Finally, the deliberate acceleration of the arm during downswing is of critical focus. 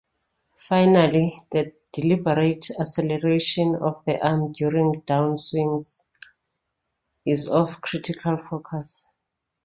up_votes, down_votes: 1, 2